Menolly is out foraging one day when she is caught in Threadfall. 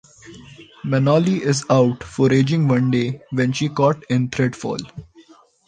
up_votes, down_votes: 1, 2